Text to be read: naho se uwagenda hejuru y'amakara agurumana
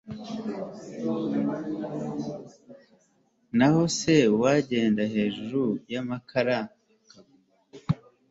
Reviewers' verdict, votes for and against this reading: rejected, 1, 2